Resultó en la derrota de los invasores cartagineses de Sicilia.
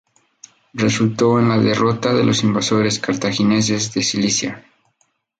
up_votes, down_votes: 0, 2